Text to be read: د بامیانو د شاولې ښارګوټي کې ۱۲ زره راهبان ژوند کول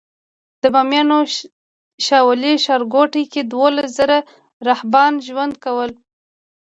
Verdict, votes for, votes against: rejected, 0, 2